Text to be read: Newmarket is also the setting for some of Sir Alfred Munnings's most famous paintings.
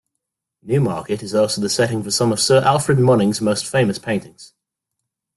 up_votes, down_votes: 2, 0